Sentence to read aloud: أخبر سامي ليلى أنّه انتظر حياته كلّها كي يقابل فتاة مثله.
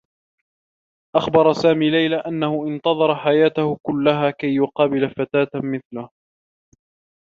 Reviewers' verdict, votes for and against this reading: rejected, 1, 2